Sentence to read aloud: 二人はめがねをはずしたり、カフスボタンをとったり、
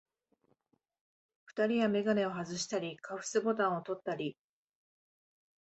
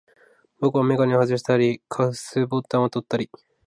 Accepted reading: first